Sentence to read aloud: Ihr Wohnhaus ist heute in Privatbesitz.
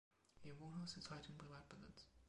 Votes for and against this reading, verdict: 1, 2, rejected